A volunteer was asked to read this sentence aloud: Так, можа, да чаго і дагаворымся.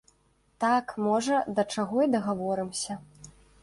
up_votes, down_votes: 2, 0